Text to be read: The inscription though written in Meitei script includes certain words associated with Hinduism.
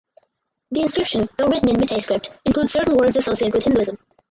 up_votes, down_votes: 0, 4